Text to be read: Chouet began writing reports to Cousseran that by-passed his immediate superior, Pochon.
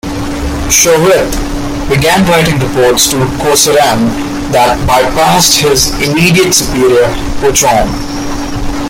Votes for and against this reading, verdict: 1, 2, rejected